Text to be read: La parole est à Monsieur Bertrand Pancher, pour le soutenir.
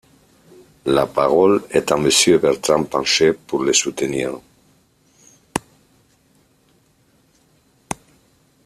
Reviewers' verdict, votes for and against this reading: accepted, 2, 0